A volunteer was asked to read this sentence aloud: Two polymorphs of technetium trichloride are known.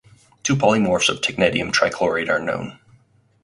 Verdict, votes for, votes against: accepted, 4, 0